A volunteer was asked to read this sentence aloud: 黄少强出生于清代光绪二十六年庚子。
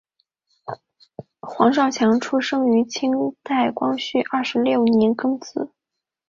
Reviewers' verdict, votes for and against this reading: accepted, 2, 0